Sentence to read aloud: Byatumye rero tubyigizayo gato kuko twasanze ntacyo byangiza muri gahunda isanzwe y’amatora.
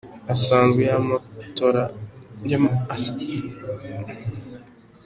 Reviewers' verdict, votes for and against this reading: rejected, 0, 2